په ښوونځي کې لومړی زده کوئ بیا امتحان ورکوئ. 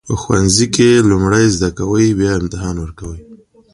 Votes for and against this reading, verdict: 2, 0, accepted